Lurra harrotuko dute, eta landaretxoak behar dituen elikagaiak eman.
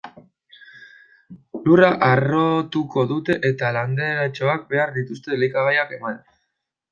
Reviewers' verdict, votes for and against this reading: rejected, 0, 2